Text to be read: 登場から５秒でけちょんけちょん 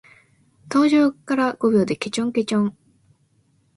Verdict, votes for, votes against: rejected, 0, 2